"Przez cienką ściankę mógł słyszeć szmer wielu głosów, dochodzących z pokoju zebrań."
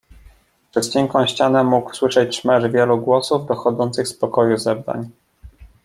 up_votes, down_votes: 1, 2